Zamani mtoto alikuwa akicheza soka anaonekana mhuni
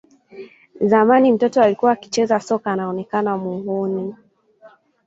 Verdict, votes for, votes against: accepted, 2, 0